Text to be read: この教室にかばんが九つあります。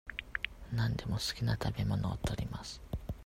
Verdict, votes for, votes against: rejected, 0, 2